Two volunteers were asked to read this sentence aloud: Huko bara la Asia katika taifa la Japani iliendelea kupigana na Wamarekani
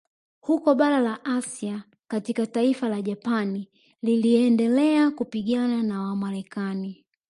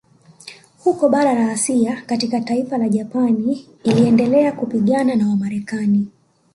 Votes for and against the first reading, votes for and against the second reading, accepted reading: 1, 2, 2, 0, second